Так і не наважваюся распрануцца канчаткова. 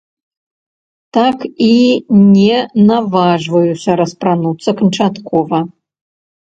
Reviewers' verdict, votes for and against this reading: rejected, 1, 2